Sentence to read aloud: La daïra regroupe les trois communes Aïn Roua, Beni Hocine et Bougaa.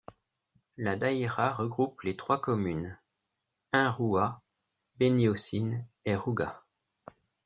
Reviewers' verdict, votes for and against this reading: rejected, 0, 2